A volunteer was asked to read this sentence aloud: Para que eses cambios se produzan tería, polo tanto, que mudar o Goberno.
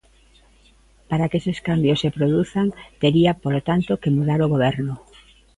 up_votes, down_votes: 2, 0